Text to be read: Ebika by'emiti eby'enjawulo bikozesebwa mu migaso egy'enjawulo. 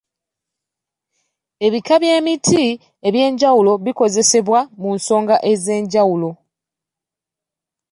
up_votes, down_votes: 0, 2